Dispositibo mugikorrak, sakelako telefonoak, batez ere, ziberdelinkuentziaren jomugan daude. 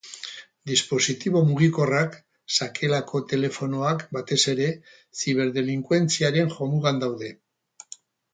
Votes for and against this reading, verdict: 2, 2, rejected